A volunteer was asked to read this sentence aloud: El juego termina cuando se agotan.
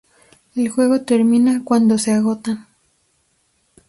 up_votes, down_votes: 2, 0